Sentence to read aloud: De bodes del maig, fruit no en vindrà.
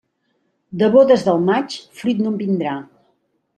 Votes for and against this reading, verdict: 2, 0, accepted